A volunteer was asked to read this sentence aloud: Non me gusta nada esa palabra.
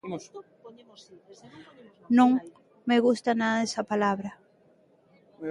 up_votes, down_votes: 0, 2